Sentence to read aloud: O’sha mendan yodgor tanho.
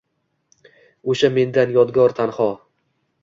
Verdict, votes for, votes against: accepted, 2, 0